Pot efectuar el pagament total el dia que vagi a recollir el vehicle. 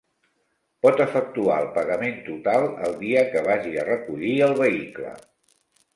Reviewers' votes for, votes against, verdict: 5, 0, accepted